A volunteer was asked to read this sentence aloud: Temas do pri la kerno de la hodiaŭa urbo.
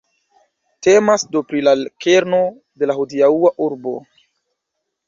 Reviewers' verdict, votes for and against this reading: accepted, 2, 0